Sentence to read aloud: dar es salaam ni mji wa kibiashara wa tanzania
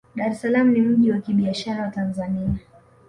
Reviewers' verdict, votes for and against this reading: accepted, 2, 0